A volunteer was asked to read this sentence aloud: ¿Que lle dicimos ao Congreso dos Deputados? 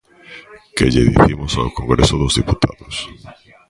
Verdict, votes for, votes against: rejected, 0, 2